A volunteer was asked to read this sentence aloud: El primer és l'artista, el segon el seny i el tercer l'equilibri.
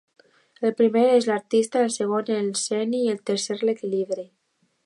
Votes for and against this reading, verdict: 0, 2, rejected